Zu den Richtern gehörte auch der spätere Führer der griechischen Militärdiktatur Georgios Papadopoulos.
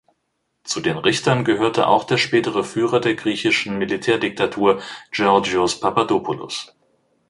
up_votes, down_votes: 2, 1